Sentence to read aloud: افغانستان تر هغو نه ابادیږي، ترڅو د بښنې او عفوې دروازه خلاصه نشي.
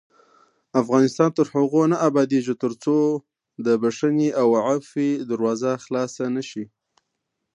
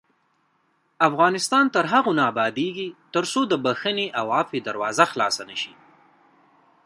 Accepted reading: first